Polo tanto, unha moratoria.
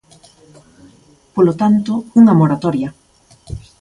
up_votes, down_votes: 2, 0